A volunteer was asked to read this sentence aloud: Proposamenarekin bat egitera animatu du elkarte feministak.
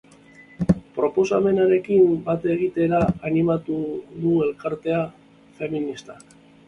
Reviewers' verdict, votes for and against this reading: rejected, 0, 2